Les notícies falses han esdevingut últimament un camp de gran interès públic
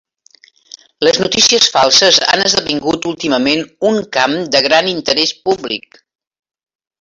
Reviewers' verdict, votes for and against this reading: rejected, 0, 2